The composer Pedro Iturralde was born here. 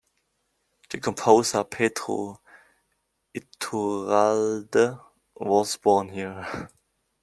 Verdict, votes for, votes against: rejected, 0, 2